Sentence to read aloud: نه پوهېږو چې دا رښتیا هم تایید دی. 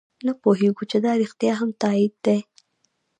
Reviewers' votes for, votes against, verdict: 1, 2, rejected